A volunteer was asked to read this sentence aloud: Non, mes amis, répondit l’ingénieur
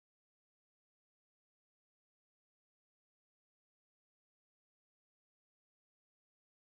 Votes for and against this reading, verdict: 0, 2, rejected